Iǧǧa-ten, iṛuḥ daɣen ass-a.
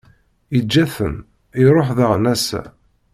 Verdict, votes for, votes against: accepted, 2, 0